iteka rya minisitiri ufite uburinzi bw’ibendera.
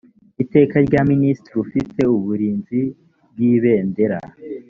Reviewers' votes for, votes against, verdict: 2, 0, accepted